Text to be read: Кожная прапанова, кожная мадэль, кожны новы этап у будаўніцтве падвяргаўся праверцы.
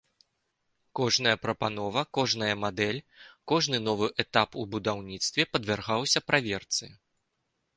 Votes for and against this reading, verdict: 3, 0, accepted